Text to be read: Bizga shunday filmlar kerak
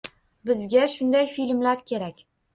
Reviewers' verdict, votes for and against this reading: accepted, 2, 0